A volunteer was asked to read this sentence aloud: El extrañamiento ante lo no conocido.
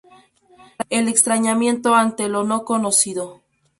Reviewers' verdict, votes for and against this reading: accepted, 2, 0